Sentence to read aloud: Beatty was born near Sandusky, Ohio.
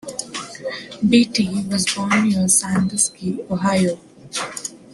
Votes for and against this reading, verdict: 2, 0, accepted